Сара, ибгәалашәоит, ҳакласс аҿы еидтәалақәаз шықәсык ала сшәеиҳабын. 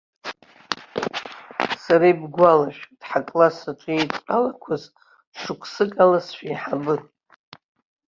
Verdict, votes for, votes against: rejected, 0, 2